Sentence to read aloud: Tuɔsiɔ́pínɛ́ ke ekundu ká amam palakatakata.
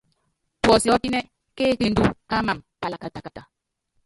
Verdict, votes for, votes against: rejected, 0, 2